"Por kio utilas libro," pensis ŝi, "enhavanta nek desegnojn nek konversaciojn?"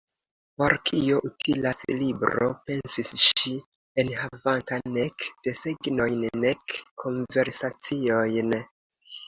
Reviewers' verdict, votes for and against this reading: accepted, 3, 1